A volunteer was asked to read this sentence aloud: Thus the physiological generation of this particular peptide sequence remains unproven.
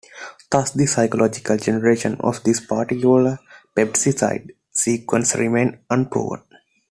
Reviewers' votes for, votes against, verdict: 0, 2, rejected